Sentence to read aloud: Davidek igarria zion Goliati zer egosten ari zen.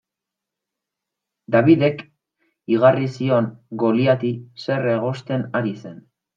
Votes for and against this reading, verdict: 1, 2, rejected